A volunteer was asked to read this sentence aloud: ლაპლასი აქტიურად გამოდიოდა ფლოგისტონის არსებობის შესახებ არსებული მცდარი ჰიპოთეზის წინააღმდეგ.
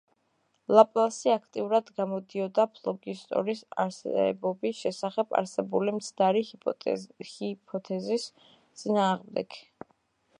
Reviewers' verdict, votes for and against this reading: rejected, 0, 2